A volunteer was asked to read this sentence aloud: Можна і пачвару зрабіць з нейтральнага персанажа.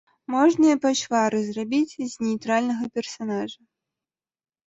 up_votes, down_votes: 2, 0